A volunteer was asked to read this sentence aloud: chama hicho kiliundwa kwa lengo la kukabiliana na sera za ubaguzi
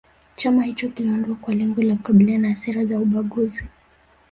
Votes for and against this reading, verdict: 2, 1, accepted